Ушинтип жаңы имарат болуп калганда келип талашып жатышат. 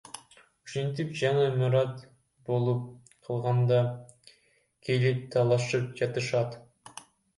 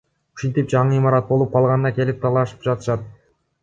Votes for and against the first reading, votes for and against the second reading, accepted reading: 0, 2, 2, 0, second